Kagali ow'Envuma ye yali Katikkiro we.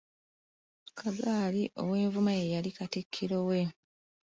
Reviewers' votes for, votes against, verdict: 0, 2, rejected